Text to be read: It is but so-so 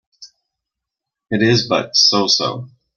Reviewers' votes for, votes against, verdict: 2, 0, accepted